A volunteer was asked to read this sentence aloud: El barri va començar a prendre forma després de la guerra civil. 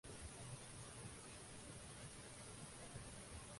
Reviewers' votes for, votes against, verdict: 0, 2, rejected